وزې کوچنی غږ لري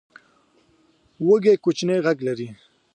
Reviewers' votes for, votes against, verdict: 1, 3, rejected